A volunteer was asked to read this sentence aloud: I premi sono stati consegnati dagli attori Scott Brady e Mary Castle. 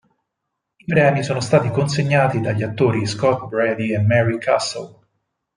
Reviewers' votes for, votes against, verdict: 4, 0, accepted